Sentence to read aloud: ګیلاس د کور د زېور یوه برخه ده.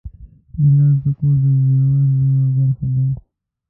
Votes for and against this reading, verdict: 1, 2, rejected